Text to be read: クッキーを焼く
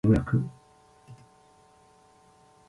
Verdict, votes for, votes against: rejected, 0, 2